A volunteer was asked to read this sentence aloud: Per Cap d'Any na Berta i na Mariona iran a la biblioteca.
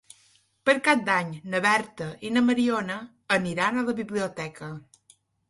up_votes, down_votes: 1, 2